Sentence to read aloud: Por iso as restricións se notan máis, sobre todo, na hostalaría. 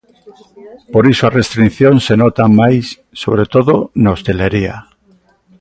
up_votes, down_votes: 2, 3